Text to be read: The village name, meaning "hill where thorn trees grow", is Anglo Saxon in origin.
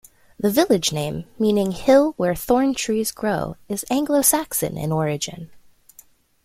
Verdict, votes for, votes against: accepted, 2, 0